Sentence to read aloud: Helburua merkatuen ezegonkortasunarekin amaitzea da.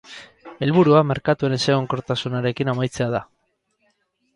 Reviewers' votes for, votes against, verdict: 4, 0, accepted